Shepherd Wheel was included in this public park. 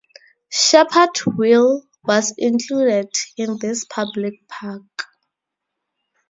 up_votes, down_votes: 4, 0